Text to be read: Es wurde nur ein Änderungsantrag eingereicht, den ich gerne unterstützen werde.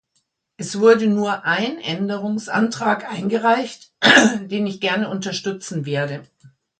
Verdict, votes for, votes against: rejected, 1, 2